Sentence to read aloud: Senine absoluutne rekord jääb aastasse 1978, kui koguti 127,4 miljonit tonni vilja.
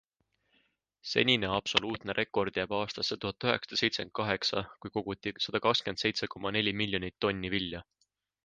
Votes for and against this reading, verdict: 0, 2, rejected